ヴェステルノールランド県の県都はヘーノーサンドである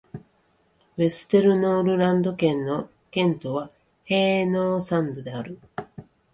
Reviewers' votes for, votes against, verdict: 4, 0, accepted